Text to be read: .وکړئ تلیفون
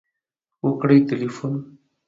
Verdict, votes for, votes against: accepted, 2, 0